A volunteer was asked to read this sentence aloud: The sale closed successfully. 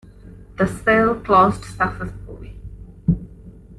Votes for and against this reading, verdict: 1, 2, rejected